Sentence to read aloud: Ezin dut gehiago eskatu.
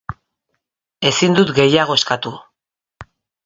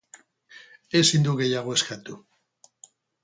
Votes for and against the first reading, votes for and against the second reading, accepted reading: 3, 0, 0, 2, first